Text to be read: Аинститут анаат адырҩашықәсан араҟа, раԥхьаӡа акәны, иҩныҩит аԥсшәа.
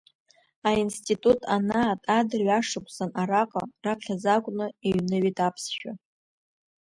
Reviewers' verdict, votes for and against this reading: accepted, 2, 0